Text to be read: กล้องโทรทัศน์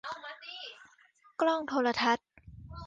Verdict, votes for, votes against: accepted, 2, 1